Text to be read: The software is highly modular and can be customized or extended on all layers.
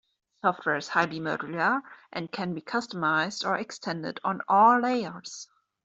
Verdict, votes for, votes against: rejected, 1, 2